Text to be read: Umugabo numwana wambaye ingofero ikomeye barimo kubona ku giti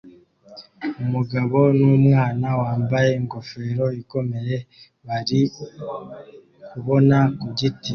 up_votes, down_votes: 1, 2